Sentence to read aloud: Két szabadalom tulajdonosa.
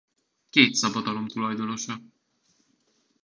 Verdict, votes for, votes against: accepted, 2, 1